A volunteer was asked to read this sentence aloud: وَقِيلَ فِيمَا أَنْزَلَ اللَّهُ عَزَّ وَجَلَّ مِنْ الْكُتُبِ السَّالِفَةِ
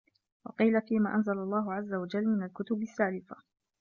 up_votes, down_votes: 2, 0